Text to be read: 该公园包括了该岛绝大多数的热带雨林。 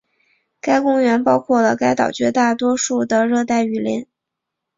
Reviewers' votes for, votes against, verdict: 3, 0, accepted